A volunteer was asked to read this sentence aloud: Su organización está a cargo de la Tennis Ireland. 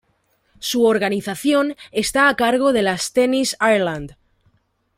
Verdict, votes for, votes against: rejected, 1, 2